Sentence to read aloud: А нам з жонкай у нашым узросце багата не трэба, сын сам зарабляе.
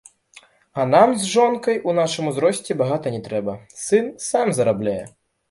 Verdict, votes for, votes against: rejected, 0, 2